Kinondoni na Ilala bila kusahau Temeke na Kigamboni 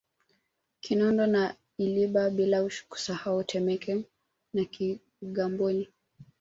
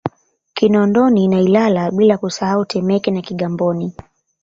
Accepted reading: second